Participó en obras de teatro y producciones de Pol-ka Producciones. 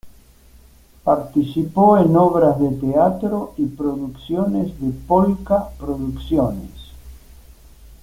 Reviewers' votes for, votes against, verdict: 2, 0, accepted